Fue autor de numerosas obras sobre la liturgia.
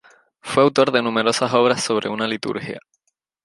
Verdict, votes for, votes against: rejected, 0, 2